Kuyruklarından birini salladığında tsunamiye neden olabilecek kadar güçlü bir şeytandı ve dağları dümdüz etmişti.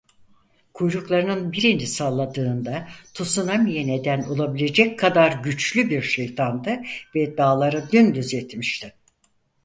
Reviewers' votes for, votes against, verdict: 0, 4, rejected